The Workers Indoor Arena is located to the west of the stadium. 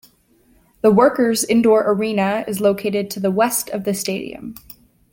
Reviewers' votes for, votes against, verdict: 2, 0, accepted